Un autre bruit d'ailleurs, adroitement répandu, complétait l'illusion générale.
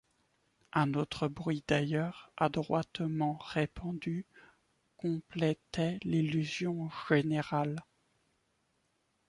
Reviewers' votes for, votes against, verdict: 2, 0, accepted